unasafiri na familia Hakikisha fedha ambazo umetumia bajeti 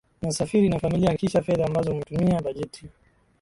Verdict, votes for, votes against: accepted, 2, 1